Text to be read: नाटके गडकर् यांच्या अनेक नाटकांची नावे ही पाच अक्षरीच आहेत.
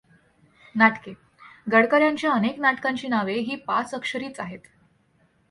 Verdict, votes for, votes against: accepted, 2, 0